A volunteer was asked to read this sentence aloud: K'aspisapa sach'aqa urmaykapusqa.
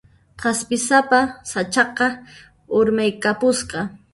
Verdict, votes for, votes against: accepted, 2, 1